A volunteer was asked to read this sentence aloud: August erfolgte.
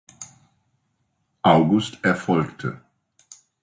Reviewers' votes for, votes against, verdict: 2, 0, accepted